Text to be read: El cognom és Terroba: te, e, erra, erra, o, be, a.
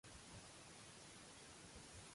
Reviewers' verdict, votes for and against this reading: rejected, 0, 2